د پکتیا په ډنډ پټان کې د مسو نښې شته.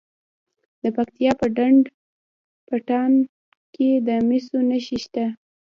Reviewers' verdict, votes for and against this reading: rejected, 1, 2